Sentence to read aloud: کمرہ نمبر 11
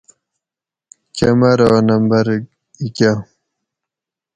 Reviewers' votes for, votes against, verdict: 0, 2, rejected